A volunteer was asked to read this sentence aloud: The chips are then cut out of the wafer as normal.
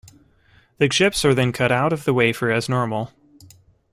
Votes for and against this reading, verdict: 3, 2, accepted